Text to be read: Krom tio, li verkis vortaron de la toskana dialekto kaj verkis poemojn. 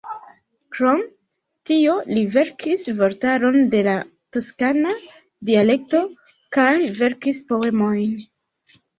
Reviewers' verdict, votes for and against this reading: rejected, 0, 2